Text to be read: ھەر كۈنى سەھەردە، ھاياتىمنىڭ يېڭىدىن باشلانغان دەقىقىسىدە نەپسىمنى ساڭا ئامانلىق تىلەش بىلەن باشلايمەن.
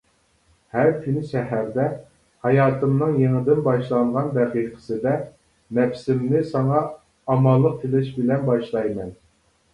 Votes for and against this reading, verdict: 2, 0, accepted